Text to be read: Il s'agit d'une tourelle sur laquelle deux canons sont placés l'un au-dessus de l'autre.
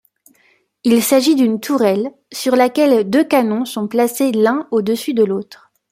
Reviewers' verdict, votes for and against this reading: accepted, 2, 0